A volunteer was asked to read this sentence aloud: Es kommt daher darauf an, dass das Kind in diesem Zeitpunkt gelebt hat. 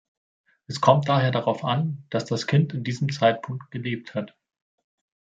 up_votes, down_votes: 2, 0